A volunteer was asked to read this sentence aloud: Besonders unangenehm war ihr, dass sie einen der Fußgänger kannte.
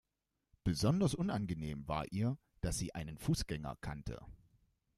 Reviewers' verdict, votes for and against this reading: rejected, 0, 2